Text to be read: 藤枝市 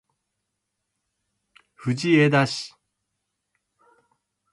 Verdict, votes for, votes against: rejected, 0, 2